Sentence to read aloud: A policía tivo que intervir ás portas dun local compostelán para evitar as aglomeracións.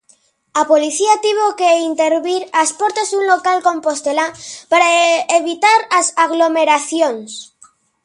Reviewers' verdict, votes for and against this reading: rejected, 1, 2